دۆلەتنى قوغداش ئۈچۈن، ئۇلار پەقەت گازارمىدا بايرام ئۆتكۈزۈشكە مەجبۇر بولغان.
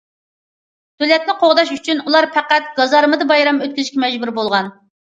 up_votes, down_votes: 2, 0